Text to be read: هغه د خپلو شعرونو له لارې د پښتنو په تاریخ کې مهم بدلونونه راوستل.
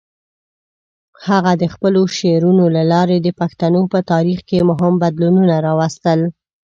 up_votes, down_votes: 1, 2